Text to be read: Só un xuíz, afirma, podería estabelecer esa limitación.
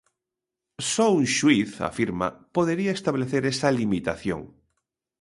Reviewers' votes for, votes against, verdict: 1, 2, rejected